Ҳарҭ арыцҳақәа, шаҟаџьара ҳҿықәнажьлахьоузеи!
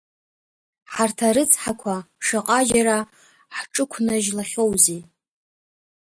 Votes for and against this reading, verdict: 2, 0, accepted